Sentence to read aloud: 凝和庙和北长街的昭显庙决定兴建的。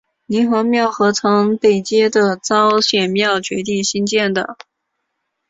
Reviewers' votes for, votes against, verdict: 1, 2, rejected